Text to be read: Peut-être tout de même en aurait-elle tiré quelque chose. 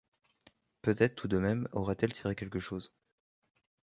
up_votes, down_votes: 1, 2